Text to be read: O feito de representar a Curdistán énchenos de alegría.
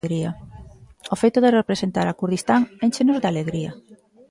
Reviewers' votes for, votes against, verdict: 1, 2, rejected